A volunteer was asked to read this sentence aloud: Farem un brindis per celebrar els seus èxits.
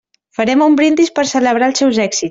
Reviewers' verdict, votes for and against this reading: rejected, 1, 2